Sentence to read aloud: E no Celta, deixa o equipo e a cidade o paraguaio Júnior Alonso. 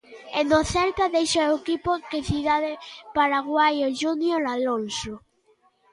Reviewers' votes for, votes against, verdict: 0, 2, rejected